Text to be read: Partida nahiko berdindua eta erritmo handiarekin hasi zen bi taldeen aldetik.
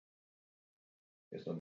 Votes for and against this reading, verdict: 0, 8, rejected